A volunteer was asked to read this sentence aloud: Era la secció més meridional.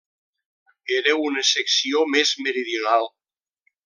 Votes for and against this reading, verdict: 0, 2, rejected